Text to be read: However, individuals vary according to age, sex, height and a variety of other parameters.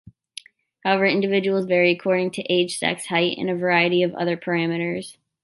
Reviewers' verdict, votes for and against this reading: accepted, 2, 1